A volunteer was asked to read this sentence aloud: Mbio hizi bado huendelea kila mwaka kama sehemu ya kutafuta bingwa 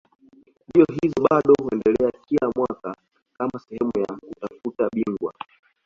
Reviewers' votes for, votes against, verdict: 2, 1, accepted